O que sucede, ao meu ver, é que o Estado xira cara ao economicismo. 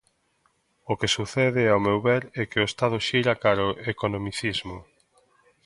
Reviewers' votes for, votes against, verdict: 2, 0, accepted